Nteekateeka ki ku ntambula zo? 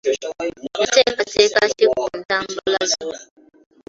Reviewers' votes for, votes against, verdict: 1, 2, rejected